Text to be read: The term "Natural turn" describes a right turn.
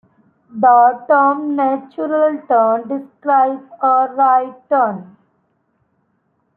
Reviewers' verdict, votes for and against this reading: rejected, 1, 2